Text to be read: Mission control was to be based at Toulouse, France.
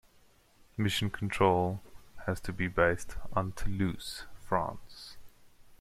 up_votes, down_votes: 0, 2